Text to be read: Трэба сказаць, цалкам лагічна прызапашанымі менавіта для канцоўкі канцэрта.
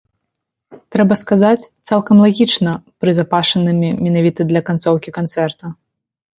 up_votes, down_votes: 2, 0